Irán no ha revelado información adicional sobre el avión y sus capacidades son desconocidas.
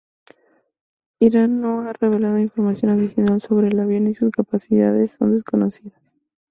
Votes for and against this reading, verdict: 0, 2, rejected